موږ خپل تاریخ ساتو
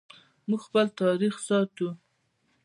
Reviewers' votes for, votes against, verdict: 2, 0, accepted